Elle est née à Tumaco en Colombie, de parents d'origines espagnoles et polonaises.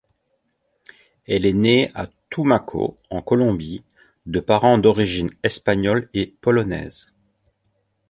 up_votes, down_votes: 2, 0